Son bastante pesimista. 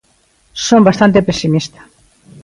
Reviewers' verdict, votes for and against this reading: accepted, 2, 0